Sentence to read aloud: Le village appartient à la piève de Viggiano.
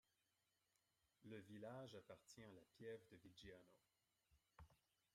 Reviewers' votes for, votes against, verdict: 2, 0, accepted